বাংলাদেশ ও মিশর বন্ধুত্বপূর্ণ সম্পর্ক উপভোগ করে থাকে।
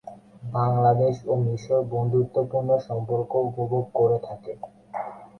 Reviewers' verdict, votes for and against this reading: accepted, 24, 8